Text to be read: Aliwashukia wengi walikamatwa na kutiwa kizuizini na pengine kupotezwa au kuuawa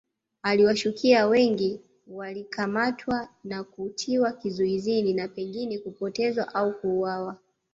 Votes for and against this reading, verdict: 0, 2, rejected